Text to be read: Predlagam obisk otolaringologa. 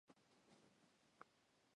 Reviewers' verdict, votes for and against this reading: rejected, 0, 2